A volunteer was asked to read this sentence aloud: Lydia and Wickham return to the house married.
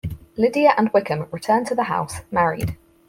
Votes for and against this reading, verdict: 4, 0, accepted